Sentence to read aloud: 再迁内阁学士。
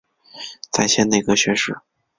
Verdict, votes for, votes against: accepted, 2, 0